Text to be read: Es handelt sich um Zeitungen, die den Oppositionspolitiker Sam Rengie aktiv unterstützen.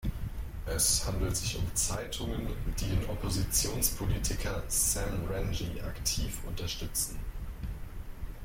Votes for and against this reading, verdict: 2, 0, accepted